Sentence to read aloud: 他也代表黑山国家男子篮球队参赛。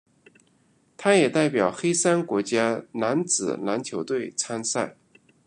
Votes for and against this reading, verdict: 2, 0, accepted